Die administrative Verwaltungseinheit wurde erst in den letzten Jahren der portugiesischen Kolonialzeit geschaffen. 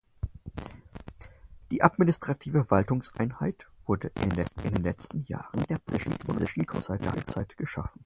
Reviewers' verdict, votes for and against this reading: rejected, 0, 4